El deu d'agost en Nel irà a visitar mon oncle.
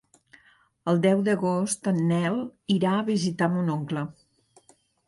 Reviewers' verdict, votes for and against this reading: accepted, 4, 0